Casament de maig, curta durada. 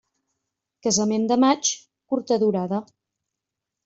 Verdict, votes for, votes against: accepted, 3, 0